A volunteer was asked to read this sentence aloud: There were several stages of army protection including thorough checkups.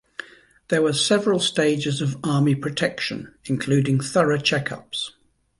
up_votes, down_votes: 2, 0